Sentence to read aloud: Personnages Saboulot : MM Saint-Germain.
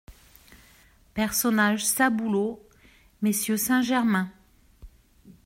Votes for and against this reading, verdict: 1, 2, rejected